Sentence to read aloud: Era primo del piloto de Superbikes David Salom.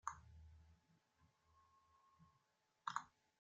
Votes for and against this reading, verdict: 0, 2, rejected